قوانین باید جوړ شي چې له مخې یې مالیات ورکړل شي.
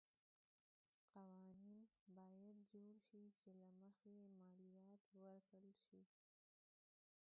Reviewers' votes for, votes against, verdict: 0, 2, rejected